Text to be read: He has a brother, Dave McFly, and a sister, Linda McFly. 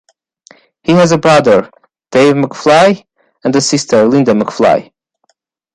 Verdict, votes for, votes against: accepted, 2, 0